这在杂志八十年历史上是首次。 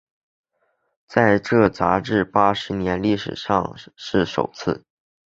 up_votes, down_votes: 1, 4